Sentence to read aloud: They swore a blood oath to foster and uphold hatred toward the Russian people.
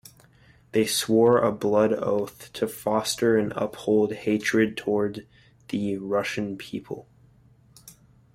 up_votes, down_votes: 2, 0